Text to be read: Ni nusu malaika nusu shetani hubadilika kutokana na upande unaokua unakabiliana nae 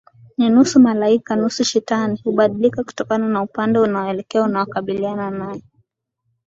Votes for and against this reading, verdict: 2, 1, accepted